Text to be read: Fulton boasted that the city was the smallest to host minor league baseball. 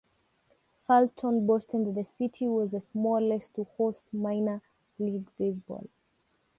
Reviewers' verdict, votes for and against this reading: rejected, 1, 3